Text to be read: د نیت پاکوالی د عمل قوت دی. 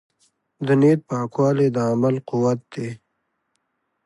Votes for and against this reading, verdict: 3, 0, accepted